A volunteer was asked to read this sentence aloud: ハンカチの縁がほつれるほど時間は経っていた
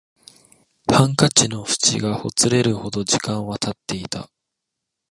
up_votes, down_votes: 0, 2